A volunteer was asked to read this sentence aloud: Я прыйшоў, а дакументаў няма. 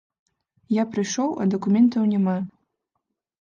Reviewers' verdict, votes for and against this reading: accepted, 2, 0